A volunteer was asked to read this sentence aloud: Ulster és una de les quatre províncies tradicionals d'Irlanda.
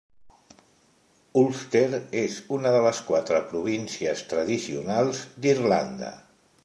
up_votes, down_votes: 2, 0